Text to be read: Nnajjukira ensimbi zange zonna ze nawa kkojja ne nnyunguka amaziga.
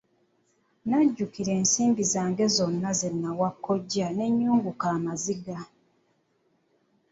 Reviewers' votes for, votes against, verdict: 2, 1, accepted